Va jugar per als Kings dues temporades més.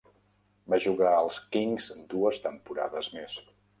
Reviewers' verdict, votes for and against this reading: rejected, 0, 2